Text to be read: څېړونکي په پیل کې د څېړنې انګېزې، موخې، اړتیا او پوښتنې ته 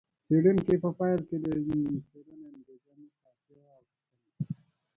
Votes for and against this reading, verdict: 1, 2, rejected